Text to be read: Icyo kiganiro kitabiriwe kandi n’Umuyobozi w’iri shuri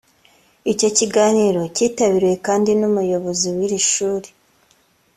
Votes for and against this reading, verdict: 2, 0, accepted